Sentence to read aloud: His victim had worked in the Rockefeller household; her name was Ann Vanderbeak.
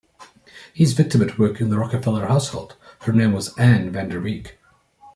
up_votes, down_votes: 2, 0